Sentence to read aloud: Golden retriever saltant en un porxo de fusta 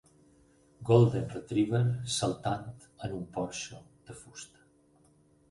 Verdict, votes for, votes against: rejected, 2, 6